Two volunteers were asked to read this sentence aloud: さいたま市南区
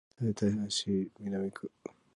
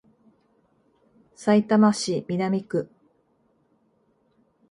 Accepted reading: second